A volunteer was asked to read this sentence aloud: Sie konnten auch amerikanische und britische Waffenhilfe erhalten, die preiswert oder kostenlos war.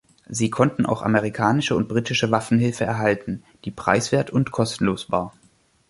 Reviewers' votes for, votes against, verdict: 1, 2, rejected